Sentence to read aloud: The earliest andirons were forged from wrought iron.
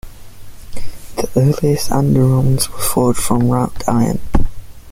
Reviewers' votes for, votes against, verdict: 1, 2, rejected